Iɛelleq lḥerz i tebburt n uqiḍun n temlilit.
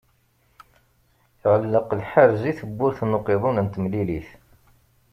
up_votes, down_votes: 1, 2